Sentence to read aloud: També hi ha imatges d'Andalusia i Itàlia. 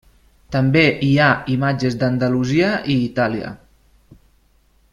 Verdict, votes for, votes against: accepted, 3, 0